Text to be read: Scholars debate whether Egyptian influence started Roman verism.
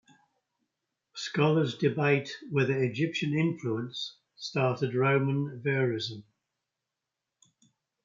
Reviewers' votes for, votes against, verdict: 2, 0, accepted